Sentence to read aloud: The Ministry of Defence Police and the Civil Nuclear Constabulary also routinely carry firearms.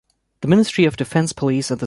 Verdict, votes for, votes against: rejected, 0, 2